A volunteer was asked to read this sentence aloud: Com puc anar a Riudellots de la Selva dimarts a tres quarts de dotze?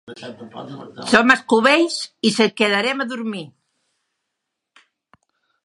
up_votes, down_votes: 0, 2